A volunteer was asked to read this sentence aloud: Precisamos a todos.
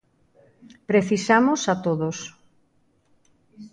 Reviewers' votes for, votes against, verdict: 2, 0, accepted